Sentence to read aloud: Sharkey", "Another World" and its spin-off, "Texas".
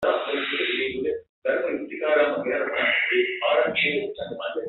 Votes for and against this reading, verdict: 0, 2, rejected